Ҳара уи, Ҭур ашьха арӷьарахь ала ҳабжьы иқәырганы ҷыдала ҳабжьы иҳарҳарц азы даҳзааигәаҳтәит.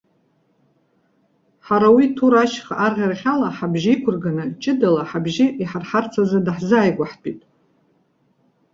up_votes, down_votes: 2, 0